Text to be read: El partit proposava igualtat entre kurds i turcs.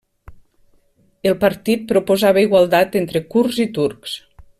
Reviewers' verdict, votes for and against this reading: accepted, 2, 0